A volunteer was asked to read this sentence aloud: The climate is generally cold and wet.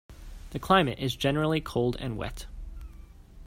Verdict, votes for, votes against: accepted, 2, 0